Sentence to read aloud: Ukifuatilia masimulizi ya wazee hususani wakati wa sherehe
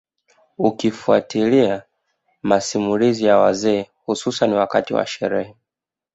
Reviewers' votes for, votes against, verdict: 0, 2, rejected